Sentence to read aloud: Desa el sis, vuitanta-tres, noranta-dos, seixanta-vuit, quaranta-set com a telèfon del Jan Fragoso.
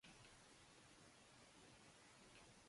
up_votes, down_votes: 0, 2